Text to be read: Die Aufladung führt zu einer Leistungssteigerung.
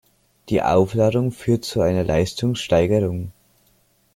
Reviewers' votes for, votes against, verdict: 2, 0, accepted